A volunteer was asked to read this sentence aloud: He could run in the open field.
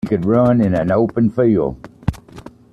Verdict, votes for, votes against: accepted, 2, 1